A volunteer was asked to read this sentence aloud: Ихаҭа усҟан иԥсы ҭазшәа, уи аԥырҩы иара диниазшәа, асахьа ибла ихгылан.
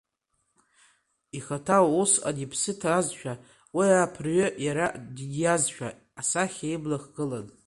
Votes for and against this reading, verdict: 0, 2, rejected